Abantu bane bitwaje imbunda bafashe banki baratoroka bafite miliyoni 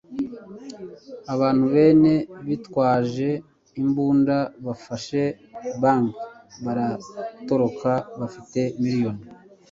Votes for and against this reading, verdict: 1, 2, rejected